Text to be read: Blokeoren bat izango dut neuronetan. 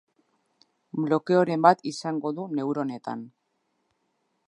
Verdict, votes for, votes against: rejected, 2, 3